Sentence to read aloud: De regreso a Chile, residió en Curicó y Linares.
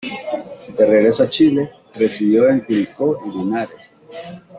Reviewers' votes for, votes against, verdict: 2, 0, accepted